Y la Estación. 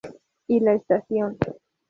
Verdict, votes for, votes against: accepted, 2, 0